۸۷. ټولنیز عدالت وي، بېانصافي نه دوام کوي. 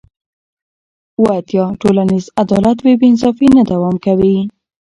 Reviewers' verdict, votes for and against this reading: rejected, 0, 2